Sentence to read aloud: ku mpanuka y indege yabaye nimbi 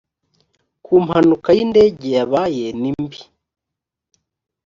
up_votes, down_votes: 4, 0